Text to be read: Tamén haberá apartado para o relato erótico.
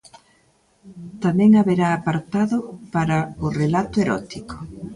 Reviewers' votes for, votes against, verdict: 2, 0, accepted